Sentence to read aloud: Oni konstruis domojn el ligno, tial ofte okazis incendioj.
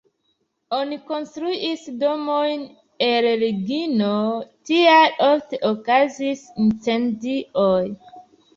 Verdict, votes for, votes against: rejected, 0, 2